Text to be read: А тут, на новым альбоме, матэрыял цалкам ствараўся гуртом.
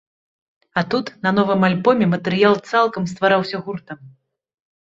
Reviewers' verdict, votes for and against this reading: rejected, 0, 2